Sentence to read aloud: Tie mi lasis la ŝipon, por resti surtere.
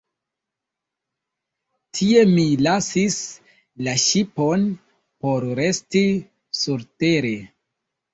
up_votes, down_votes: 2, 0